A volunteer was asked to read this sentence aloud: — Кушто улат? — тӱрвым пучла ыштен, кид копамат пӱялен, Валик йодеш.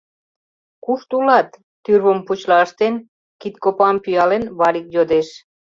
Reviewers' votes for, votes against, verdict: 0, 2, rejected